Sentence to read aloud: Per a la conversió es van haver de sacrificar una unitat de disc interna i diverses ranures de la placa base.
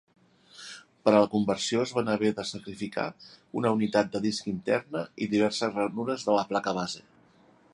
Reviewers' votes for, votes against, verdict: 4, 0, accepted